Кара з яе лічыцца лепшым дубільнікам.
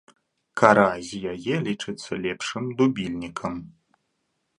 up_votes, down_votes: 2, 0